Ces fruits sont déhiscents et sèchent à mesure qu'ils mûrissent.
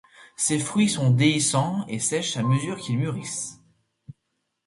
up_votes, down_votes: 2, 0